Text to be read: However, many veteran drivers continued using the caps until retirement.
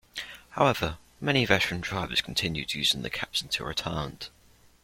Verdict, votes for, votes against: accepted, 2, 1